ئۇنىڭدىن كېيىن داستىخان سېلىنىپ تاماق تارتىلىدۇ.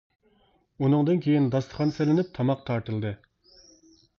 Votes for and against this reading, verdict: 0, 2, rejected